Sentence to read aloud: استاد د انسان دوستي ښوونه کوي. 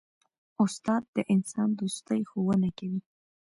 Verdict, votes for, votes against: accepted, 3, 2